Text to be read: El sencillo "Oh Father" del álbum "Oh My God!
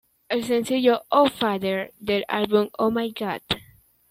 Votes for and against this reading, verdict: 2, 1, accepted